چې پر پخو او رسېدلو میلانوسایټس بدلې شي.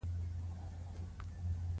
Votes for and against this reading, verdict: 1, 2, rejected